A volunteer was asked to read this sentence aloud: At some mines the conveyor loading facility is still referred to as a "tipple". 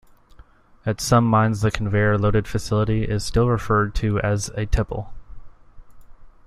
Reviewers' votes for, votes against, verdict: 0, 2, rejected